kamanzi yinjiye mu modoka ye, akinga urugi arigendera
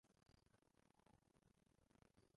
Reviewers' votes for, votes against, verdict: 0, 2, rejected